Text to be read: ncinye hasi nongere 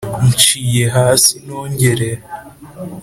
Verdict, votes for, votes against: accepted, 2, 0